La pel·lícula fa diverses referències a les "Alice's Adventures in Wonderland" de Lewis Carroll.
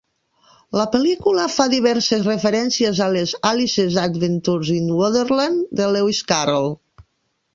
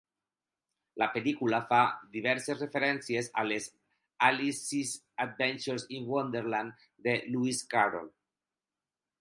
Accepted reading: second